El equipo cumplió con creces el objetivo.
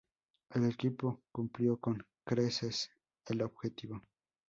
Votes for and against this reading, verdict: 0, 2, rejected